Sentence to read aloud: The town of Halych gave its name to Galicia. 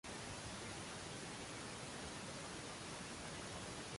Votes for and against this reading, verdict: 0, 2, rejected